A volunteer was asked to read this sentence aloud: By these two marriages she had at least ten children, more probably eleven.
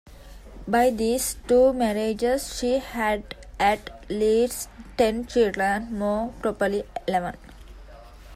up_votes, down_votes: 1, 2